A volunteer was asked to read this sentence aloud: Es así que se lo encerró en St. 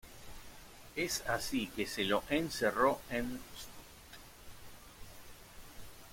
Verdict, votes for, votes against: rejected, 0, 2